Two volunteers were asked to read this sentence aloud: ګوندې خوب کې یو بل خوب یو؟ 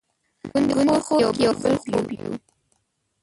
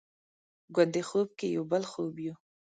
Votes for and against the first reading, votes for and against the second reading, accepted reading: 0, 2, 2, 0, second